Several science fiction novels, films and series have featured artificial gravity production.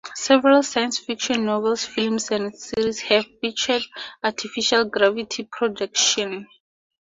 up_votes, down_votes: 2, 2